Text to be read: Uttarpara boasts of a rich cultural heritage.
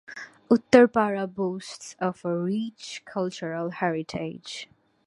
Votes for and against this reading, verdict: 2, 0, accepted